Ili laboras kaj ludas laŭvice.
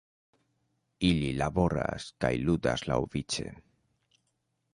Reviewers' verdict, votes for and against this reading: rejected, 1, 2